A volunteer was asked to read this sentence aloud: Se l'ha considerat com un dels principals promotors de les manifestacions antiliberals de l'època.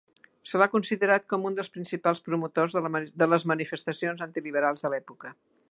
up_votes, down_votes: 1, 2